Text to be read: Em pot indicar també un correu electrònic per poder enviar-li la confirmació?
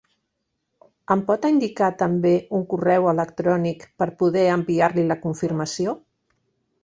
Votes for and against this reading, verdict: 0, 2, rejected